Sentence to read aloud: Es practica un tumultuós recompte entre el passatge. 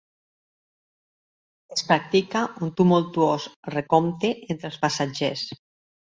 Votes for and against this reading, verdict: 0, 2, rejected